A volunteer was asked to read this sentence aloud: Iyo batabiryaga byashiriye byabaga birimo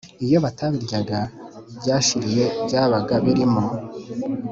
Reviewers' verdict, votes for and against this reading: accepted, 3, 0